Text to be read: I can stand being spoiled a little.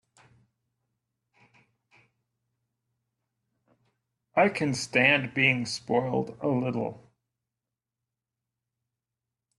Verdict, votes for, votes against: rejected, 1, 2